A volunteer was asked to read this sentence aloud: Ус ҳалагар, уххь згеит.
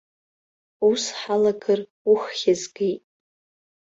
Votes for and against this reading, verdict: 2, 1, accepted